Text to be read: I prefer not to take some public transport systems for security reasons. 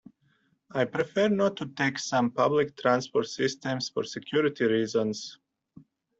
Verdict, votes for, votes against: accepted, 2, 0